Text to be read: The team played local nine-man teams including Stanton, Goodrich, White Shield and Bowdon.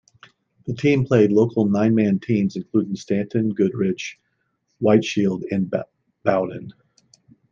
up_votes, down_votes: 1, 2